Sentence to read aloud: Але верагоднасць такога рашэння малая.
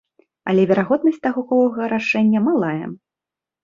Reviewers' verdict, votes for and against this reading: rejected, 0, 2